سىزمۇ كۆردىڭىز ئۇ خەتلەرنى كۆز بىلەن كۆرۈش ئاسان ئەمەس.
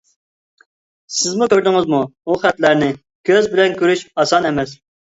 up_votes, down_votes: 2, 1